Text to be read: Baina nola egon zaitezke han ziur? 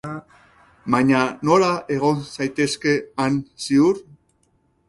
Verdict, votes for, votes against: rejected, 2, 2